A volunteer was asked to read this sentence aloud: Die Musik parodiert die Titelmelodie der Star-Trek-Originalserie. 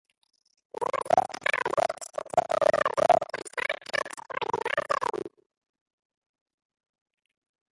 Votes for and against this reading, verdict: 0, 2, rejected